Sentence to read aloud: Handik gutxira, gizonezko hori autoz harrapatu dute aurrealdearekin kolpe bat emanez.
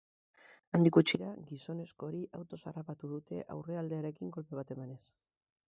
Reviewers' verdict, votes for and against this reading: accepted, 2, 0